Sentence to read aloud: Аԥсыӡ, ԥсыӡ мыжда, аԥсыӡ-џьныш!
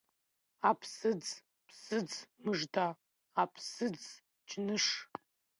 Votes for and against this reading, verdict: 3, 0, accepted